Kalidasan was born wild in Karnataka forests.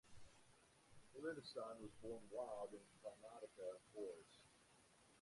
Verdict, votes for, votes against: rejected, 0, 2